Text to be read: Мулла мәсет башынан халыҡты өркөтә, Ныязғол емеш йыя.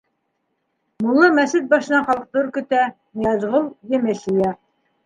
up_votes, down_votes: 2, 1